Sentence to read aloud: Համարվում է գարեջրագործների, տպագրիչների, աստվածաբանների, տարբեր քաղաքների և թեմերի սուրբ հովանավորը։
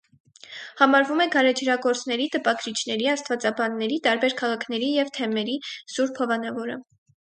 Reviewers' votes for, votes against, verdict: 4, 0, accepted